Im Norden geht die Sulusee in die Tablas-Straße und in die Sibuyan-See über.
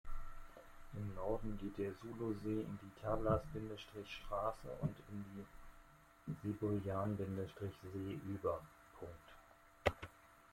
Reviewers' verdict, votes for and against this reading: rejected, 0, 2